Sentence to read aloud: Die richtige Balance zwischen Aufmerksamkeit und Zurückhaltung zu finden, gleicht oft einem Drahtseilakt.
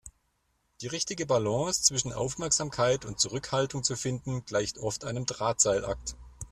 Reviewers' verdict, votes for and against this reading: accepted, 2, 0